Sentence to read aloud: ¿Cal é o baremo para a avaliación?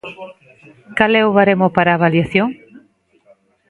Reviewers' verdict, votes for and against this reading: accepted, 2, 1